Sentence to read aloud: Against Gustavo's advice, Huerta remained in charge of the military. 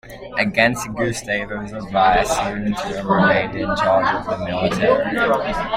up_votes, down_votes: 0, 2